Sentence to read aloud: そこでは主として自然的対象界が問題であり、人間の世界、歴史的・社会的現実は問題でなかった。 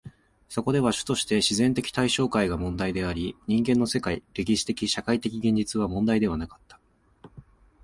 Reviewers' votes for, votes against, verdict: 2, 0, accepted